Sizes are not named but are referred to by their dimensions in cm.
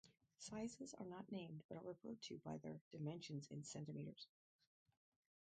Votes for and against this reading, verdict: 0, 4, rejected